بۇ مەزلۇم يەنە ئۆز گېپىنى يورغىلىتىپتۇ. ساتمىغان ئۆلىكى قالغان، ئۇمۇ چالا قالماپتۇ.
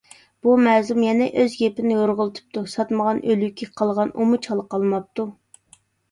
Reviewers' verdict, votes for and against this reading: rejected, 1, 2